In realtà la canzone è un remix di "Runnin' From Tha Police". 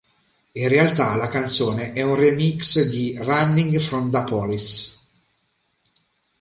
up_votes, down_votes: 1, 2